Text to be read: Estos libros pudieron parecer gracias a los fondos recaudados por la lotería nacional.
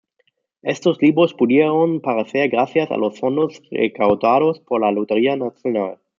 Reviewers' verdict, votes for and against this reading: rejected, 0, 2